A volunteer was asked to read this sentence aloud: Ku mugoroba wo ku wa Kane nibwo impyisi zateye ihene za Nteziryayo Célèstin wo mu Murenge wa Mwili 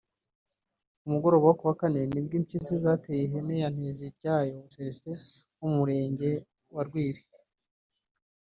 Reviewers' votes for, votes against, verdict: 1, 3, rejected